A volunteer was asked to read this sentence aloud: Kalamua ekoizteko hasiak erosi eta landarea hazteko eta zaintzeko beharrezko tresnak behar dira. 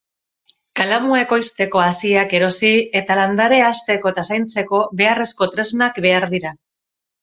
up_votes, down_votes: 6, 0